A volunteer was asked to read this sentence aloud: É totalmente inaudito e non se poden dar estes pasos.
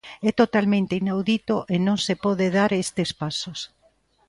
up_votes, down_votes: 0, 2